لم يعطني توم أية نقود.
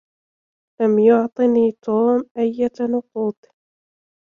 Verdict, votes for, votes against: rejected, 1, 2